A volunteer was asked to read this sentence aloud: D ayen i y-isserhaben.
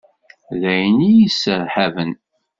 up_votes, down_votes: 0, 2